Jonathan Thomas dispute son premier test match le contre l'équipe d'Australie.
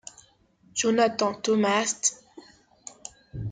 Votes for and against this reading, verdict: 0, 2, rejected